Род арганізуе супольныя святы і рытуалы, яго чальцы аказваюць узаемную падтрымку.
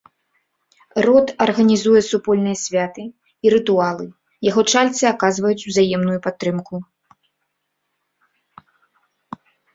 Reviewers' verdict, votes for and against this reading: rejected, 0, 2